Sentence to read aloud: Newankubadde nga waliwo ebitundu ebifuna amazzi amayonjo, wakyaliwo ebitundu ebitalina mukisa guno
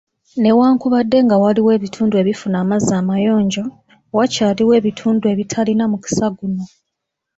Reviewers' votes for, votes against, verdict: 3, 0, accepted